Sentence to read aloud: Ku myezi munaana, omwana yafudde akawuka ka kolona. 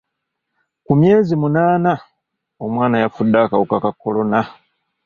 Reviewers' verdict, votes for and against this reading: accepted, 2, 0